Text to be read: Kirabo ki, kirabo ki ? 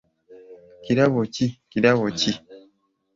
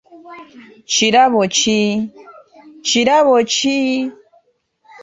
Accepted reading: first